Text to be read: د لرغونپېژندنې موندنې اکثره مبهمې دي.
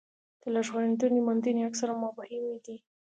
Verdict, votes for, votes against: rejected, 1, 2